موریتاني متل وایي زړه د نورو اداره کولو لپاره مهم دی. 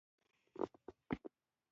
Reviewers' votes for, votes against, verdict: 1, 2, rejected